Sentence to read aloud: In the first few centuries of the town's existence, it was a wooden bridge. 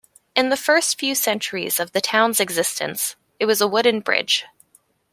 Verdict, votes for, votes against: accepted, 2, 0